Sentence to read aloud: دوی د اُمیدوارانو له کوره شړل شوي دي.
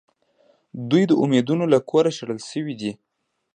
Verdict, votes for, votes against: accepted, 2, 0